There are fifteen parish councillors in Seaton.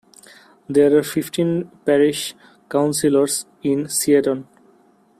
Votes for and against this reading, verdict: 2, 0, accepted